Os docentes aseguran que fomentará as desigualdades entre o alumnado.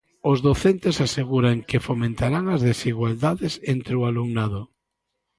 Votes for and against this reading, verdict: 1, 2, rejected